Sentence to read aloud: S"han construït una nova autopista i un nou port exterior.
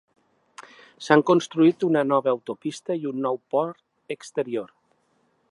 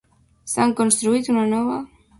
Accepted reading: first